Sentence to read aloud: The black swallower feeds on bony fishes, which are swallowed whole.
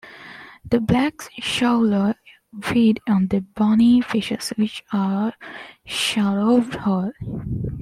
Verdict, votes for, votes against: rejected, 1, 2